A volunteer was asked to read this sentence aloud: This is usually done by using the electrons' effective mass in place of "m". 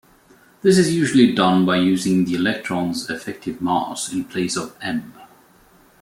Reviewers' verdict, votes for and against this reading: accepted, 2, 0